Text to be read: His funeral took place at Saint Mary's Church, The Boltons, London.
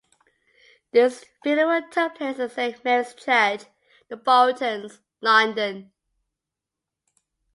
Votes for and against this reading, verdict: 2, 0, accepted